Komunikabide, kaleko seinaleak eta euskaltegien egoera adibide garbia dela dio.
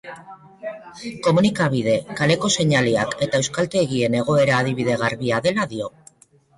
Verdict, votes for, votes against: accepted, 2, 0